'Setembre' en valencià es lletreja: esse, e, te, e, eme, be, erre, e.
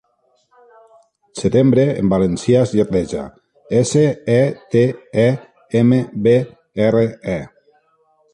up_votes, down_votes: 2, 0